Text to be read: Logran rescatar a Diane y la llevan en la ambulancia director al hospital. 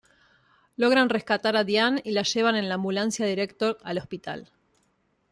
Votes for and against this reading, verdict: 1, 2, rejected